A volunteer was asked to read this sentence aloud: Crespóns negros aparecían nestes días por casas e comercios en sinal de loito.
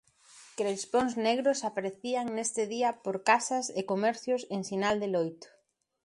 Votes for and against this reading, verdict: 1, 2, rejected